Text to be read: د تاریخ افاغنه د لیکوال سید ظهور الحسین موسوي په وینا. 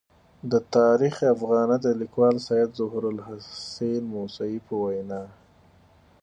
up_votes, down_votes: 4, 0